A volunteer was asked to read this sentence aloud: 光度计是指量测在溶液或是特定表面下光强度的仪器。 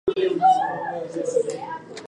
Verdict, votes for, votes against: rejected, 1, 2